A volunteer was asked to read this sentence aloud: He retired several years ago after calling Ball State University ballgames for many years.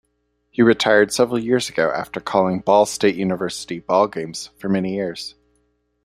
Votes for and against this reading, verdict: 1, 2, rejected